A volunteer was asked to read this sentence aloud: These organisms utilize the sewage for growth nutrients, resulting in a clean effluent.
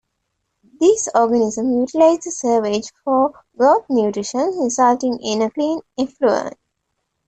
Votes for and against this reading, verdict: 0, 2, rejected